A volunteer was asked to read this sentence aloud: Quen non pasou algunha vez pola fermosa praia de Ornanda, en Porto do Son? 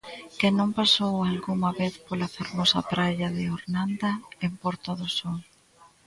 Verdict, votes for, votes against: accepted, 2, 0